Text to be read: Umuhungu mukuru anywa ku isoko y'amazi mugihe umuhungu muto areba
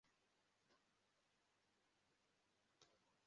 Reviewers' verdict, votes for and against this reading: rejected, 0, 2